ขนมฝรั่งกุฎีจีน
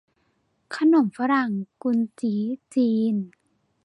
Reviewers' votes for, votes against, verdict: 1, 2, rejected